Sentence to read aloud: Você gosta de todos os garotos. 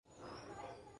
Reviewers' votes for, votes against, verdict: 0, 6, rejected